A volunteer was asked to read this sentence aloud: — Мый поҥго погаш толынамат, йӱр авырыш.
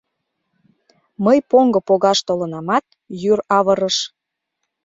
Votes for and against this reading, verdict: 2, 0, accepted